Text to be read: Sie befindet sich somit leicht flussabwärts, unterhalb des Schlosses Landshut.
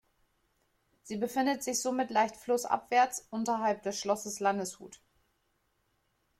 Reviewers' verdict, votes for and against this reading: rejected, 1, 3